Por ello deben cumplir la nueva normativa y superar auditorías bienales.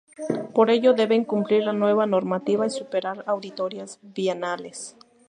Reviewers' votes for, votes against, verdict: 2, 0, accepted